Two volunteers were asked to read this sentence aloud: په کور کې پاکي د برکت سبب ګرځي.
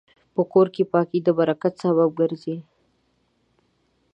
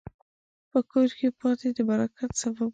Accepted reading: first